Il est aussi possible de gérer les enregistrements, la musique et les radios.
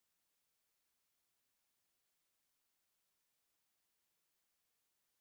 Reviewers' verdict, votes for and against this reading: rejected, 0, 2